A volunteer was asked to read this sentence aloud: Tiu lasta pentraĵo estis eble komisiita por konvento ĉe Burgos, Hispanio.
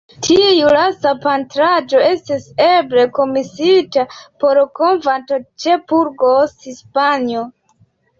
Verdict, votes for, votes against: accepted, 2, 1